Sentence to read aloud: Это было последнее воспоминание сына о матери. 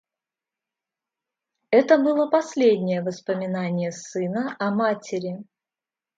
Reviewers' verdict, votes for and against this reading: accepted, 2, 0